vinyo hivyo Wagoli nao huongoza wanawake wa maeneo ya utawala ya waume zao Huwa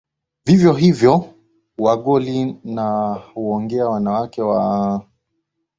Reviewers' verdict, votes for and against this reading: rejected, 2, 3